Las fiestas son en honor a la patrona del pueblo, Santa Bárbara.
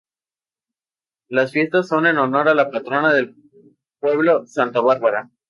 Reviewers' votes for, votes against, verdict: 2, 0, accepted